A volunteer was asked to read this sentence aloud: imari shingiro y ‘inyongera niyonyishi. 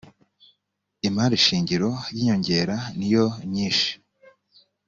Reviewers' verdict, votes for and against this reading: accepted, 2, 0